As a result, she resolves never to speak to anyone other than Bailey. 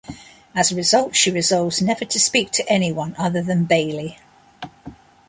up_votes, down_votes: 2, 0